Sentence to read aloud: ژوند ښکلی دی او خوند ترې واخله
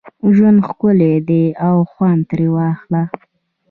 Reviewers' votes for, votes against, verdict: 2, 0, accepted